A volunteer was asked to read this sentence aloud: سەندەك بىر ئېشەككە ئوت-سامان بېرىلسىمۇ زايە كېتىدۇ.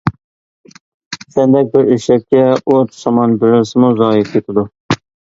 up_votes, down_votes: 2, 0